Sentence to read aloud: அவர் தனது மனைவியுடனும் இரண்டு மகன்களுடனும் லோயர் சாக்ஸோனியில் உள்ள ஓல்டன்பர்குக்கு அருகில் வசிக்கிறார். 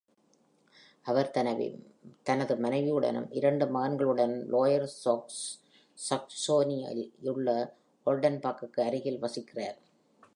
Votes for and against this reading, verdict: 1, 2, rejected